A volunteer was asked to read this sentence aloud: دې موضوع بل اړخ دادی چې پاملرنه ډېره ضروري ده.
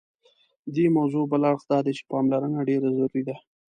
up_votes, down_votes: 1, 2